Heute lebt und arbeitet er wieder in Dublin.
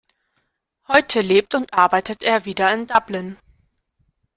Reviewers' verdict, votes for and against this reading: accepted, 2, 0